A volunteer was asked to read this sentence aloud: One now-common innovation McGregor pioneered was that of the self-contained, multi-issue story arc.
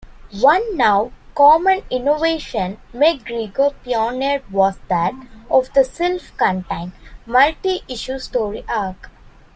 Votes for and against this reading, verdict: 0, 2, rejected